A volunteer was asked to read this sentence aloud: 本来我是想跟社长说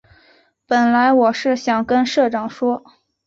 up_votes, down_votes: 2, 0